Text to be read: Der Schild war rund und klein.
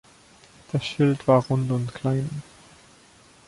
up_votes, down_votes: 1, 2